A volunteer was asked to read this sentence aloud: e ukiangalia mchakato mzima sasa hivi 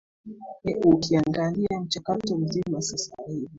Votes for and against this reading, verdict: 2, 1, accepted